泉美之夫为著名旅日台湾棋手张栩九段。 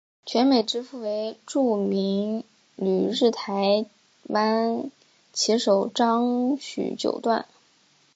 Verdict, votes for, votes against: rejected, 2, 2